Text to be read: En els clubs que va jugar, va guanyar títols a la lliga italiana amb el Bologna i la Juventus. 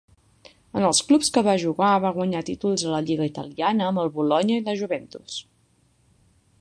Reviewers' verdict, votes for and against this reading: accepted, 3, 0